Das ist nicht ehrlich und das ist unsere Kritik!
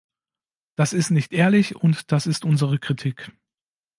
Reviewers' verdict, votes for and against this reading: accepted, 2, 0